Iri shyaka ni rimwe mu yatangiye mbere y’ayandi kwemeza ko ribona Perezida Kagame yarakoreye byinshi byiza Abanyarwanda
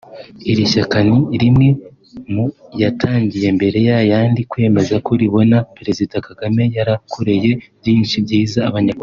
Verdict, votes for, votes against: rejected, 2, 3